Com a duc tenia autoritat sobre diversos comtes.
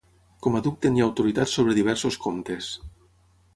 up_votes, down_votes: 6, 0